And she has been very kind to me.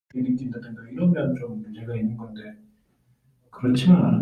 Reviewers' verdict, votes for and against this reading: rejected, 0, 2